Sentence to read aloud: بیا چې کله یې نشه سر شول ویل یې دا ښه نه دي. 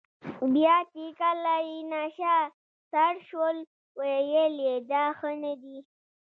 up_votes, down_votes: 2, 1